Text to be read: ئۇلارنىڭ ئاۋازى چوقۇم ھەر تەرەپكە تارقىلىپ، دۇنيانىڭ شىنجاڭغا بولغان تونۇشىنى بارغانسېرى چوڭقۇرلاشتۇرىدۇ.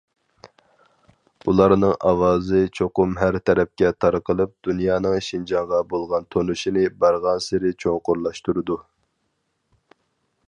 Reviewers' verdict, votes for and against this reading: accepted, 4, 0